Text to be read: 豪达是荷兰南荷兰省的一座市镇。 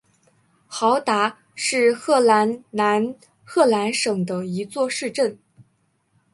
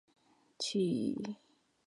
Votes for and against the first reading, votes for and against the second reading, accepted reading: 4, 1, 0, 2, first